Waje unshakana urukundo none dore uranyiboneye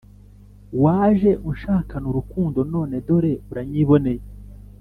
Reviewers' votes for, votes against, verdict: 2, 0, accepted